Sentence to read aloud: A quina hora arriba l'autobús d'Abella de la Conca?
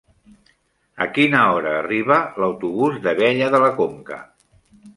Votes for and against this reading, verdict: 2, 0, accepted